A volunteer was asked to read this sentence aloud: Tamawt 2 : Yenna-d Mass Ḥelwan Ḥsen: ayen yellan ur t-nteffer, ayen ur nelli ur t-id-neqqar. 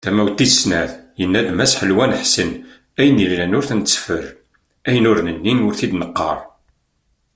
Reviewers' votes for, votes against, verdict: 0, 2, rejected